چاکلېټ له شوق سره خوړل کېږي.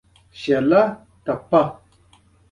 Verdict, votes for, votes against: rejected, 1, 2